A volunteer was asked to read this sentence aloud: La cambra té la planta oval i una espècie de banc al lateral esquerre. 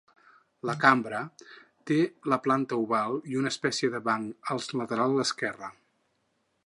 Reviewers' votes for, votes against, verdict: 0, 4, rejected